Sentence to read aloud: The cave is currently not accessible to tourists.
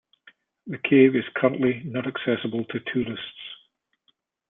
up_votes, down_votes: 2, 0